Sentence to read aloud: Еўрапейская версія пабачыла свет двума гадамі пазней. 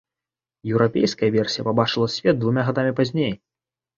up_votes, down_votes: 2, 0